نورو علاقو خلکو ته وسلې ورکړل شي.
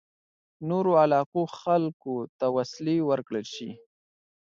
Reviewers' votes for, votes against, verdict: 2, 0, accepted